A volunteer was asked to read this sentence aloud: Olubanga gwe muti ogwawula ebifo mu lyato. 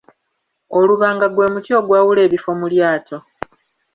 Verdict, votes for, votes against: accepted, 3, 0